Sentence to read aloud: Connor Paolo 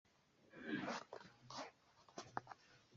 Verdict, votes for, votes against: rejected, 0, 2